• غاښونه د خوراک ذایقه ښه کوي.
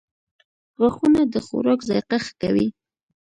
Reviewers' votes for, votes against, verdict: 2, 0, accepted